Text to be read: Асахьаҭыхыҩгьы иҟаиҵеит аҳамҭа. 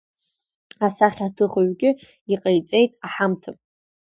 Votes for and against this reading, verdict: 0, 2, rejected